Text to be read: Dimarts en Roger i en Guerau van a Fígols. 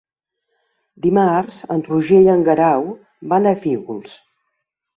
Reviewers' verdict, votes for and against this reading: accepted, 3, 0